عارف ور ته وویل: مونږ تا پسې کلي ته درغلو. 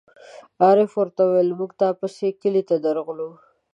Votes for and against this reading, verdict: 2, 0, accepted